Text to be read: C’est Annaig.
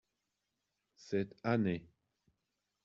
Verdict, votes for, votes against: rejected, 1, 2